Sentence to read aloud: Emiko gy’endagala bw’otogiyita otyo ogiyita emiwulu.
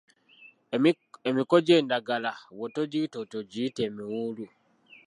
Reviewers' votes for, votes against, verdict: 0, 2, rejected